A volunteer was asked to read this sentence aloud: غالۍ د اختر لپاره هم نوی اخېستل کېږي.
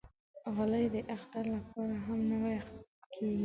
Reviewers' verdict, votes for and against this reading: rejected, 1, 2